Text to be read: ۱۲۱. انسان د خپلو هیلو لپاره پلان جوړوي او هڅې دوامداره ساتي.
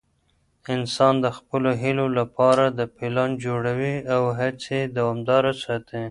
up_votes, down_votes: 0, 2